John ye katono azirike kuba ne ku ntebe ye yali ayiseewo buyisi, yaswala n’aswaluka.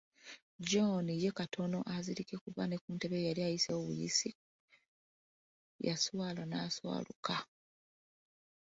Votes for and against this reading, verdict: 2, 1, accepted